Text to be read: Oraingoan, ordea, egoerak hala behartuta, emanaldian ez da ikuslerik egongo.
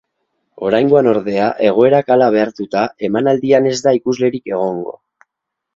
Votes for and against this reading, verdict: 4, 0, accepted